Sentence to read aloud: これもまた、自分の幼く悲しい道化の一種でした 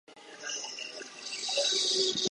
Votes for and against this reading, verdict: 1, 6, rejected